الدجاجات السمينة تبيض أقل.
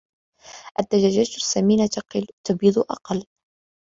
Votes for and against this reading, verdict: 1, 2, rejected